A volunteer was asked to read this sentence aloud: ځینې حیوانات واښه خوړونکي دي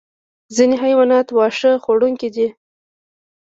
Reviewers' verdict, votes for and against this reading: rejected, 0, 2